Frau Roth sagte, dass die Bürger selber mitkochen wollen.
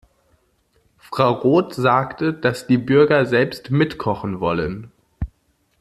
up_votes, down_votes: 1, 2